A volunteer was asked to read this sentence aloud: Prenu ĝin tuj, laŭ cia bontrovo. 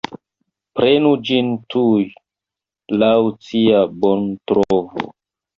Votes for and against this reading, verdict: 0, 2, rejected